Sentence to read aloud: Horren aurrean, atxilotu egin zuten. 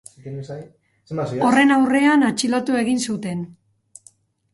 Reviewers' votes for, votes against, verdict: 0, 4, rejected